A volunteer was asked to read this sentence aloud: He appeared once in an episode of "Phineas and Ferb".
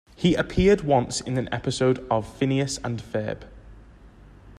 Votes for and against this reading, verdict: 2, 0, accepted